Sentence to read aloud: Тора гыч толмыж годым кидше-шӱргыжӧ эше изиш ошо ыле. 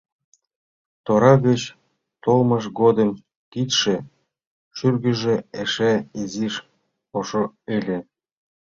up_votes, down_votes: 2, 0